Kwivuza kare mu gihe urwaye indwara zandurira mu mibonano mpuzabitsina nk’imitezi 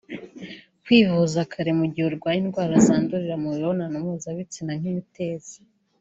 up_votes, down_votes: 2, 0